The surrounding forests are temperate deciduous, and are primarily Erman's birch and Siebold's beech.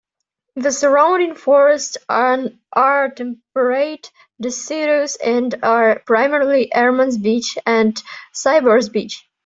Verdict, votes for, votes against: rejected, 0, 2